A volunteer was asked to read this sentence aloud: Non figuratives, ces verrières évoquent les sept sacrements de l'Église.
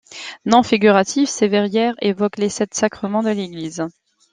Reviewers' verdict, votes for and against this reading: accepted, 2, 0